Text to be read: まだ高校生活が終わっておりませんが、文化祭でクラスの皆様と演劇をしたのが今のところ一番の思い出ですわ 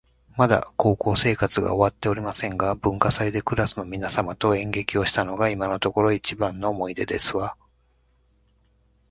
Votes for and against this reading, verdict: 2, 0, accepted